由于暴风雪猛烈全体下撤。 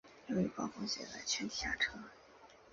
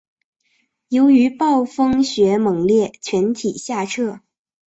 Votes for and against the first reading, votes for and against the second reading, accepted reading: 0, 2, 3, 0, second